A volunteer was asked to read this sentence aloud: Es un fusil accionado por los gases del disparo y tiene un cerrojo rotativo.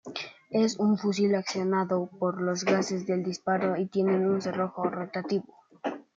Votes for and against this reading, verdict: 2, 1, accepted